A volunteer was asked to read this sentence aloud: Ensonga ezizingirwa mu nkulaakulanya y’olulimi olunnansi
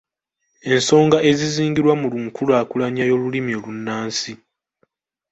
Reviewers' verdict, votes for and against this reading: rejected, 1, 2